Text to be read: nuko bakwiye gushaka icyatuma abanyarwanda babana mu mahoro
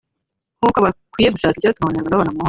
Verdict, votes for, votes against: rejected, 0, 2